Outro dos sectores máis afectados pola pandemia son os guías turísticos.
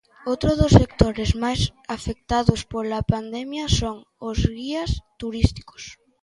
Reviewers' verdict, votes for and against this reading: accepted, 2, 0